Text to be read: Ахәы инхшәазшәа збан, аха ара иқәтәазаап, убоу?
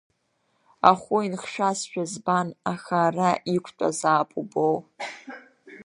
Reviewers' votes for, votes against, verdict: 1, 2, rejected